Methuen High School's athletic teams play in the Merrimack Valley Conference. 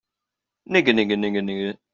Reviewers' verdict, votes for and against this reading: rejected, 0, 2